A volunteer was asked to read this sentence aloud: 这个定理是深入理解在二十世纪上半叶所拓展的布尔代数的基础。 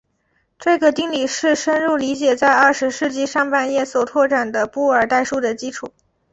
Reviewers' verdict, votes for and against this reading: accepted, 2, 0